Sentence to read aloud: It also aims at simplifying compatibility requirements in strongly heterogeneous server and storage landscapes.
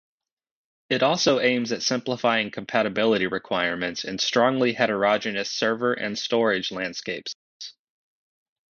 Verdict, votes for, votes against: rejected, 0, 2